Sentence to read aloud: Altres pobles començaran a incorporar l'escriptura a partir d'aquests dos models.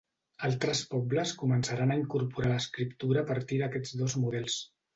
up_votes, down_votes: 0, 2